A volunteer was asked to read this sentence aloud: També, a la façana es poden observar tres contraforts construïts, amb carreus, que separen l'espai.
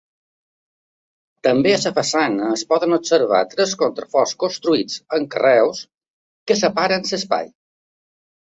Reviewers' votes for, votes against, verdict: 2, 0, accepted